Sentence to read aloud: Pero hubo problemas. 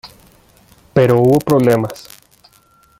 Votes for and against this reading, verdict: 1, 2, rejected